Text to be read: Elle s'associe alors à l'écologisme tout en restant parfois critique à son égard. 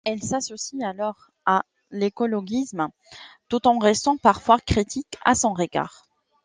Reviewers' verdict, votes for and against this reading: accepted, 2, 0